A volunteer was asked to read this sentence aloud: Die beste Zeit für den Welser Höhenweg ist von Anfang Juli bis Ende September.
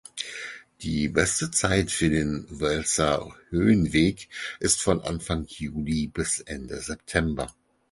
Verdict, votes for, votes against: accepted, 4, 2